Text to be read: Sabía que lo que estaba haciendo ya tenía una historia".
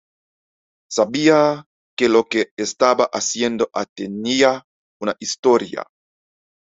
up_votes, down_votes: 1, 2